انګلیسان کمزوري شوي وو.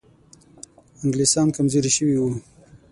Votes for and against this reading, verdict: 3, 6, rejected